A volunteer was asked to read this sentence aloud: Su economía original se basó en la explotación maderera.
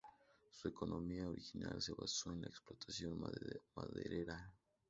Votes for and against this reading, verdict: 0, 2, rejected